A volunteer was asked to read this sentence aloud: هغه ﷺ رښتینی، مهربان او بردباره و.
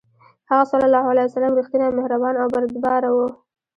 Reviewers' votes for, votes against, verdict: 1, 2, rejected